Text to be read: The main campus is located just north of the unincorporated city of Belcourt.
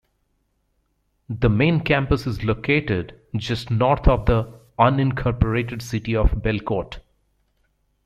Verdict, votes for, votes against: accepted, 2, 0